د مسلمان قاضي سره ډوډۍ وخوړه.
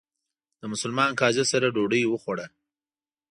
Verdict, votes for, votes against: accepted, 2, 0